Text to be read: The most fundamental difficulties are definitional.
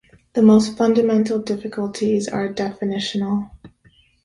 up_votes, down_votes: 2, 0